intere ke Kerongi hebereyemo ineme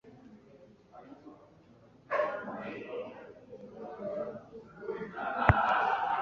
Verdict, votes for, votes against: rejected, 0, 2